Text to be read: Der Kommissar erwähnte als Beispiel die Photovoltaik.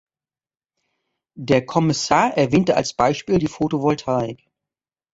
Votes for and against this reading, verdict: 2, 0, accepted